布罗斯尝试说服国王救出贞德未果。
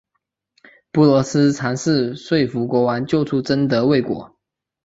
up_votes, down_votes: 3, 0